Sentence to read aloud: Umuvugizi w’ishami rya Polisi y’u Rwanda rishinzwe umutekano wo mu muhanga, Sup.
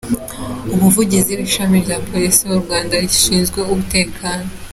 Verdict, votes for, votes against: rejected, 0, 2